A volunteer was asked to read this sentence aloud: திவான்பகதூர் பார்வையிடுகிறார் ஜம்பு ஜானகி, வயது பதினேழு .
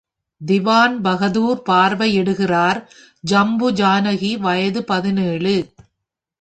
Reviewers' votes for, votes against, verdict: 3, 0, accepted